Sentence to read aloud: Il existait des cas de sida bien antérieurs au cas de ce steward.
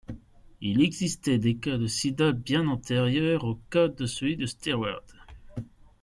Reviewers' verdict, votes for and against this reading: rejected, 1, 2